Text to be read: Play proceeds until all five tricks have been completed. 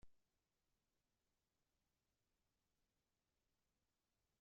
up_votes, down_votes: 0, 2